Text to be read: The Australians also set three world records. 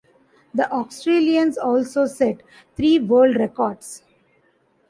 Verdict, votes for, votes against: accepted, 2, 0